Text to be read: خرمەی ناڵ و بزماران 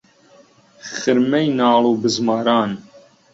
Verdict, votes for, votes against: accepted, 3, 0